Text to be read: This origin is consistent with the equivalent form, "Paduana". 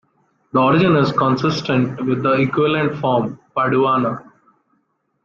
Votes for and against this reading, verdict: 1, 2, rejected